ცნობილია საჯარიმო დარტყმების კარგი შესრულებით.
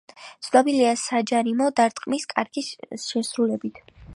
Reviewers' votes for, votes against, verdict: 2, 3, rejected